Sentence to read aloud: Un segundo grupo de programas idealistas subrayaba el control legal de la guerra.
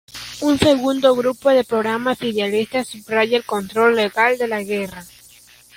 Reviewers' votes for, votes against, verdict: 1, 2, rejected